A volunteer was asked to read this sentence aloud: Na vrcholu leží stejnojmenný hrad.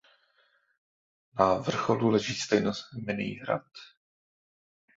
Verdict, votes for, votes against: rejected, 0, 2